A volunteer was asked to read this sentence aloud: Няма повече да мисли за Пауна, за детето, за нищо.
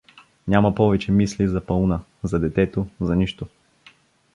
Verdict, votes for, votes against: rejected, 1, 2